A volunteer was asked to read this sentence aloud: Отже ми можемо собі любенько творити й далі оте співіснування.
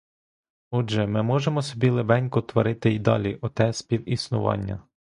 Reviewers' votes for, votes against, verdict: 1, 2, rejected